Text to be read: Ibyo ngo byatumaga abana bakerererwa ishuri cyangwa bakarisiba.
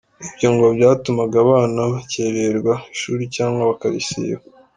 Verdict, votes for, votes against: accepted, 2, 1